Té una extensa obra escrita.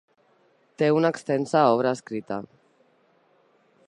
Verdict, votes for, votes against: accepted, 3, 0